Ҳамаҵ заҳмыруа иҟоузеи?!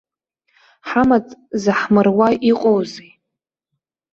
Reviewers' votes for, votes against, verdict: 2, 0, accepted